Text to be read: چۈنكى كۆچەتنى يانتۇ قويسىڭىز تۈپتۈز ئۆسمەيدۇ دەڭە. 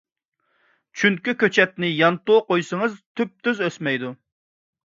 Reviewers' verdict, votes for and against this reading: rejected, 0, 2